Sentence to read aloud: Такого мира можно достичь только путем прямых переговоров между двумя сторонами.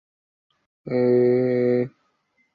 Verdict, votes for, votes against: rejected, 0, 2